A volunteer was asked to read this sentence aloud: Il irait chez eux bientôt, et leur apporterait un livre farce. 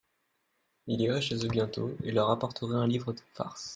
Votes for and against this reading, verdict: 0, 2, rejected